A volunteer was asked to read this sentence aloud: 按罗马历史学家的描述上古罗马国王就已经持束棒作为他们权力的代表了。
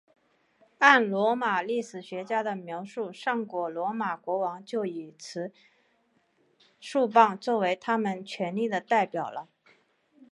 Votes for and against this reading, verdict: 8, 2, accepted